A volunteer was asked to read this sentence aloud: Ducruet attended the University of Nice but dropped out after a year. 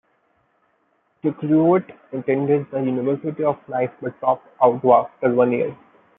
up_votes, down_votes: 0, 2